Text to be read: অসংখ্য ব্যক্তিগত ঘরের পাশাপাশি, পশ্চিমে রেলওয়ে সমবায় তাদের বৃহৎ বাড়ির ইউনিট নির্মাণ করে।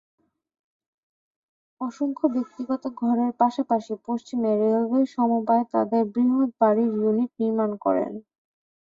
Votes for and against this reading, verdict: 1, 2, rejected